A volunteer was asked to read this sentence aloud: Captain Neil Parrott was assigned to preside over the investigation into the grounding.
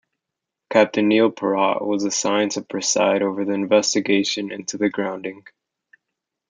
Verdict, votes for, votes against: rejected, 1, 2